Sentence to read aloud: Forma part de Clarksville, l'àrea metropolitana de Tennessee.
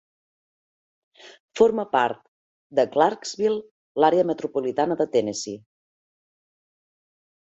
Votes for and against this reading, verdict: 3, 0, accepted